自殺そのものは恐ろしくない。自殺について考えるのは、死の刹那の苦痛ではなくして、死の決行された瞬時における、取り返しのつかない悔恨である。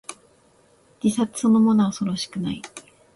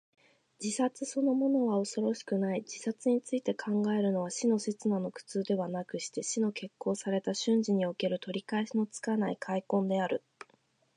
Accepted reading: second